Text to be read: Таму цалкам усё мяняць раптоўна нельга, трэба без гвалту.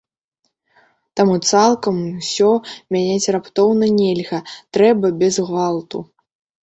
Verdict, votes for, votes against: accepted, 3, 0